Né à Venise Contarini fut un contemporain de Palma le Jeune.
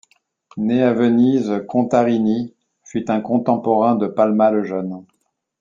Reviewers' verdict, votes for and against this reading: accepted, 2, 0